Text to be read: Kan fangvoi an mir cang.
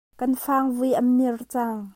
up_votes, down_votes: 2, 0